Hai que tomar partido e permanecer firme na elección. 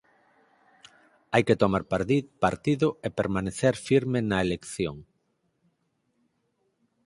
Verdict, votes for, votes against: rejected, 0, 4